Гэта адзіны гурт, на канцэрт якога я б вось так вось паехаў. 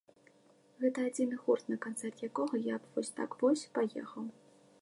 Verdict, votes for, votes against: accepted, 2, 0